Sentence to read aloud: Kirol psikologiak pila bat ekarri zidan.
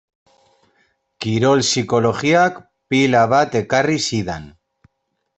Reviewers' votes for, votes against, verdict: 2, 0, accepted